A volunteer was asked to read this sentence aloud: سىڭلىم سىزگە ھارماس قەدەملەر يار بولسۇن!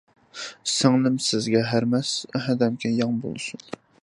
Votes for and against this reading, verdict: 0, 2, rejected